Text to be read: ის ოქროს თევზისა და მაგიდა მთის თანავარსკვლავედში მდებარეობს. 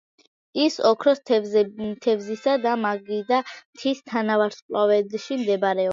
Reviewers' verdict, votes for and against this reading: rejected, 1, 2